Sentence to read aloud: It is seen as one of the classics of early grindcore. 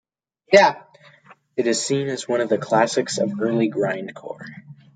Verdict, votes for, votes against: rejected, 0, 2